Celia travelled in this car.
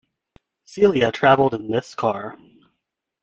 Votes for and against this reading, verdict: 2, 0, accepted